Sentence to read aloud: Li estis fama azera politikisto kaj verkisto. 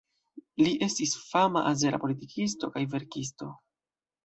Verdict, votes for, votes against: rejected, 1, 2